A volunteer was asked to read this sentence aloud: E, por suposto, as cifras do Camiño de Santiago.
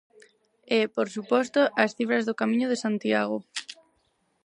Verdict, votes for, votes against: accepted, 6, 0